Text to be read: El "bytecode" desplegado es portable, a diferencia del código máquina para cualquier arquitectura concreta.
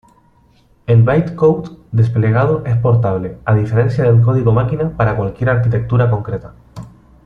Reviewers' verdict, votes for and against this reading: accepted, 2, 0